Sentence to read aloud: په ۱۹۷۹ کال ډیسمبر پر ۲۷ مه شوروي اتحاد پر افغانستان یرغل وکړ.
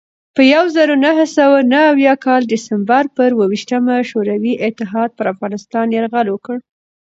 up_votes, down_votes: 0, 2